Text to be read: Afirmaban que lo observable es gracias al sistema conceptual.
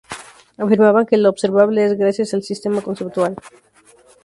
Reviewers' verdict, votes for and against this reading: rejected, 2, 2